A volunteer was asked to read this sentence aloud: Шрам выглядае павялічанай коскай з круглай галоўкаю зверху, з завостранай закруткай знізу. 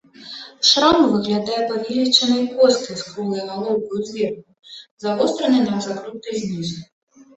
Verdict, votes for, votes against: rejected, 0, 2